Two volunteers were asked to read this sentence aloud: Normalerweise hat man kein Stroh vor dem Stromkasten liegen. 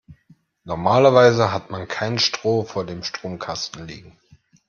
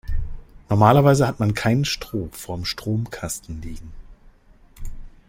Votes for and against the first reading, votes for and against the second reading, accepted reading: 2, 0, 0, 2, first